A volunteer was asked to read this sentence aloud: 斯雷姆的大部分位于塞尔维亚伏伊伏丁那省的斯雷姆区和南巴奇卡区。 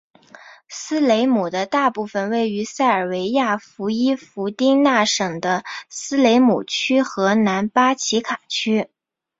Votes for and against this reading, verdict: 3, 0, accepted